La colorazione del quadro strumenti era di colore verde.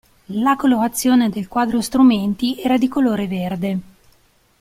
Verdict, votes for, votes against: accepted, 2, 0